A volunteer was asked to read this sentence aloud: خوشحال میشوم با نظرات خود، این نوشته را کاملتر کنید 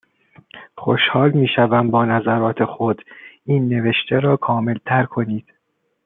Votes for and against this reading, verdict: 2, 0, accepted